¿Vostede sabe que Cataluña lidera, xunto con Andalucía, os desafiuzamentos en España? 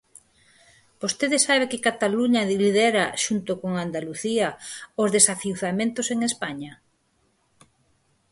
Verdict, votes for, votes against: rejected, 14, 20